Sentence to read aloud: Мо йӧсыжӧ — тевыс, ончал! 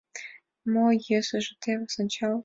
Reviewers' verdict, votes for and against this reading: accepted, 2, 0